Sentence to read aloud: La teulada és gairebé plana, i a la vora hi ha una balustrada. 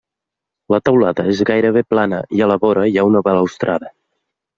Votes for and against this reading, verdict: 0, 2, rejected